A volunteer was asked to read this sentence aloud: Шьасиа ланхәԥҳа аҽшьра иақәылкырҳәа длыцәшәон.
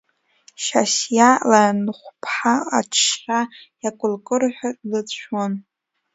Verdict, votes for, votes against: rejected, 0, 2